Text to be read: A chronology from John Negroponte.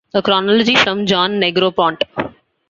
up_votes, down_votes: 2, 0